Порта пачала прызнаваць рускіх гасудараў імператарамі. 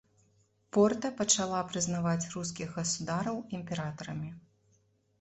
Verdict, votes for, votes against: accepted, 2, 0